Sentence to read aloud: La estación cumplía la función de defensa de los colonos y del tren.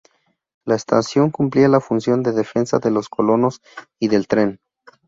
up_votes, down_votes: 0, 2